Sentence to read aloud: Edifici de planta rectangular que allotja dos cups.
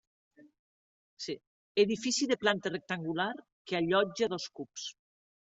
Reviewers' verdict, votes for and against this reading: accepted, 2, 0